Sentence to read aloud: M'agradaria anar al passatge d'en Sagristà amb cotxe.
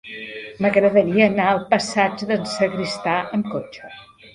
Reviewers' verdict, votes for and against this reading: accepted, 4, 0